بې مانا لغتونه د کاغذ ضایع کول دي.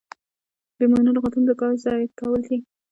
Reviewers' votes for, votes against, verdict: 1, 2, rejected